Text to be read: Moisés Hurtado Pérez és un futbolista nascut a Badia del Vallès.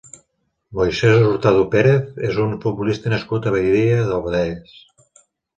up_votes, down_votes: 2, 3